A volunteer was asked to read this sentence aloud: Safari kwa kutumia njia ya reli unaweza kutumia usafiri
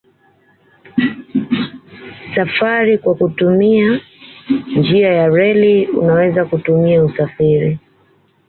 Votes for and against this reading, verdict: 2, 0, accepted